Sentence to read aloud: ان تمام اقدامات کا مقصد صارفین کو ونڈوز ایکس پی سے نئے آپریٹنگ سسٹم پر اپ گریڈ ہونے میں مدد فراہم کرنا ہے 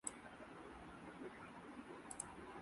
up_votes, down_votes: 1, 9